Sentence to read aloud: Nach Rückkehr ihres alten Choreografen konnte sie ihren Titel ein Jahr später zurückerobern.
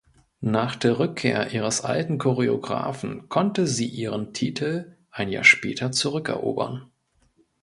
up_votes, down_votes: 0, 2